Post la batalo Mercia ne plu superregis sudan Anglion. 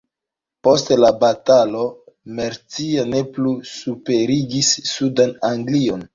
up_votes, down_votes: 0, 3